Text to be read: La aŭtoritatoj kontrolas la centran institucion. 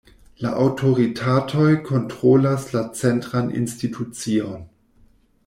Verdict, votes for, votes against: accepted, 2, 0